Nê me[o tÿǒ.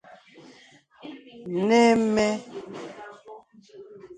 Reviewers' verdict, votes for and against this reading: rejected, 1, 2